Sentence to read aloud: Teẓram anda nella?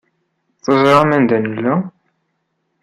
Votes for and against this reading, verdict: 2, 0, accepted